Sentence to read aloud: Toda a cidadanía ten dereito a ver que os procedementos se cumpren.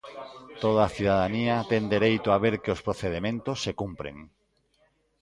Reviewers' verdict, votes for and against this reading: rejected, 0, 2